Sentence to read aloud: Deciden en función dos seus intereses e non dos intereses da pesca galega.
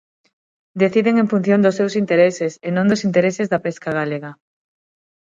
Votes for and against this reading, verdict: 6, 0, accepted